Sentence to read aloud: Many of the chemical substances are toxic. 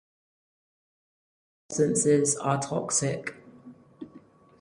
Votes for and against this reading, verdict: 0, 4, rejected